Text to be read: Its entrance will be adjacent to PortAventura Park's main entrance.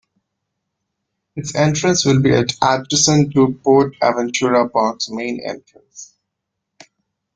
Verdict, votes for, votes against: rejected, 1, 3